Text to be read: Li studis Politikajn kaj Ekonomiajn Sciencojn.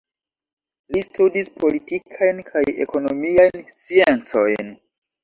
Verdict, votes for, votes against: rejected, 0, 2